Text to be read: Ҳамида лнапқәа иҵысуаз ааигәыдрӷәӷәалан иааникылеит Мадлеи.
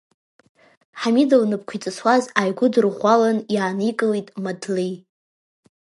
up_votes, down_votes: 1, 2